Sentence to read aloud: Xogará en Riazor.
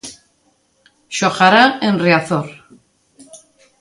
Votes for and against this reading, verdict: 2, 0, accepted